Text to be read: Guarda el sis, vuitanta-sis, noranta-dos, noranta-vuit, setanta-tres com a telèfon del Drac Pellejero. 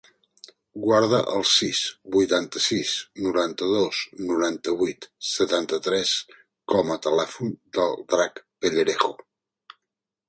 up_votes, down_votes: 0, 2